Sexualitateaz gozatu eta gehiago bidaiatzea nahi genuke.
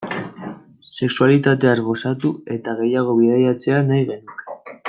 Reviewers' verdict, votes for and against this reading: rejected, 1, 2